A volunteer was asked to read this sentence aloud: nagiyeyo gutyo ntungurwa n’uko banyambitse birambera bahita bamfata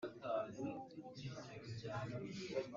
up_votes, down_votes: 0, 2